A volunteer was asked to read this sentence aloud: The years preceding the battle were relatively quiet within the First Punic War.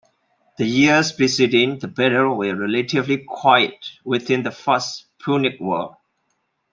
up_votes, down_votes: 1, 2